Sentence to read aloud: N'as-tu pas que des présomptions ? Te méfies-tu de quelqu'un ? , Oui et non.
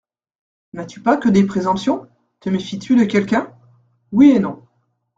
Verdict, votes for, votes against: accepted, 2, 0